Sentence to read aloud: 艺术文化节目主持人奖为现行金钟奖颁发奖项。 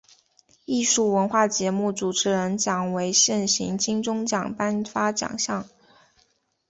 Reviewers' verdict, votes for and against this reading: accepted, 5, 1